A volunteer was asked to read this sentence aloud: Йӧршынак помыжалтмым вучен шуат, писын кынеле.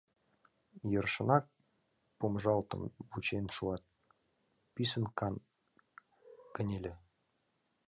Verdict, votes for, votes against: rejected, 0, 2